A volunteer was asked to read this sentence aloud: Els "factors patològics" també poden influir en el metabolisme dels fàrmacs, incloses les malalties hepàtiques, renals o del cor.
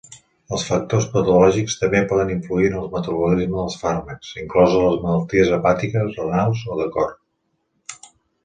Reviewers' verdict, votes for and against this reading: rejected, 1, 2